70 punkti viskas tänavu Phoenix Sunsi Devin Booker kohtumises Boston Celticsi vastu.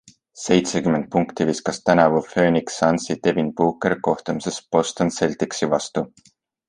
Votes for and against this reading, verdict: 0, 2, rejected